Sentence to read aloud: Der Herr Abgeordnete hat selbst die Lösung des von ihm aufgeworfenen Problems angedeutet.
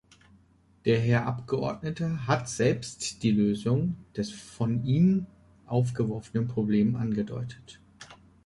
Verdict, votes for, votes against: rejected, 0, 2